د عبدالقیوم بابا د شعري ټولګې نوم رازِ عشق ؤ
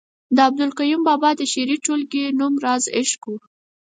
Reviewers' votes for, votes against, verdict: 4, 0, accepted